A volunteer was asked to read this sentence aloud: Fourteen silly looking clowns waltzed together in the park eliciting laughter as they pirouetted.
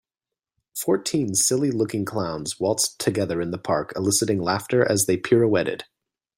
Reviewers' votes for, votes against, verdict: 2, 0, accepted